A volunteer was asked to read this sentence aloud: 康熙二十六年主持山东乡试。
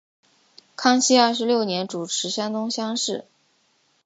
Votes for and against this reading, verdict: 8, 0, accepted